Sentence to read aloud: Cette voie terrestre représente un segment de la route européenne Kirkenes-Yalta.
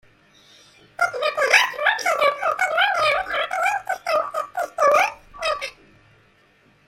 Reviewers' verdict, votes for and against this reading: rejected, 0, 2